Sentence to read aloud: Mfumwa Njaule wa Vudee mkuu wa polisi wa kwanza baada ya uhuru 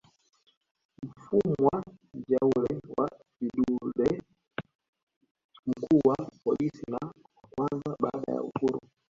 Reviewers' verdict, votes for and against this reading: rejected, 1, 2